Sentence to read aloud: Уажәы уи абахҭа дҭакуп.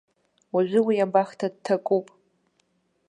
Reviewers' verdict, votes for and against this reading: accepted, 2, 0